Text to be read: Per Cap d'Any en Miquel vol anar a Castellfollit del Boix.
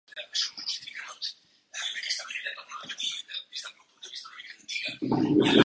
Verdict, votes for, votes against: rejected, 0, 2